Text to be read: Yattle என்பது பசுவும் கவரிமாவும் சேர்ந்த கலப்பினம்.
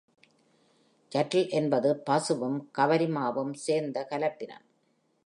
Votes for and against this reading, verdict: 2, 0, accepted